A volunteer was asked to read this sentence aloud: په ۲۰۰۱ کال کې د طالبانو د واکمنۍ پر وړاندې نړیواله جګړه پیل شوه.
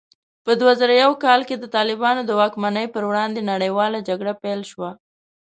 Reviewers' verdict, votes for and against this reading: rejected, 0, 2